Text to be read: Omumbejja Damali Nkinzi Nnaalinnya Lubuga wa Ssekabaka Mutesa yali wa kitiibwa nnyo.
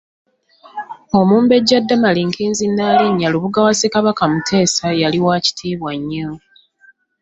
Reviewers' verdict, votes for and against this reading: accepted, 2, 0